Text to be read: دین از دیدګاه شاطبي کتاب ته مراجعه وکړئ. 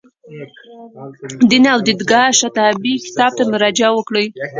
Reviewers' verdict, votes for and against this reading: rejected, 1, 2